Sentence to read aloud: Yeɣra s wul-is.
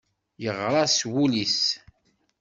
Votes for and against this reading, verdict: 2, 0, accepted